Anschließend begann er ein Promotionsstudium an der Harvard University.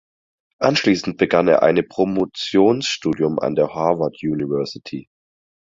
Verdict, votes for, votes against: rejected, 0, 4